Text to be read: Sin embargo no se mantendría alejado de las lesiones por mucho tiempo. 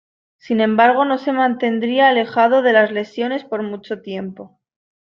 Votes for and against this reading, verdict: 2, 0, accepted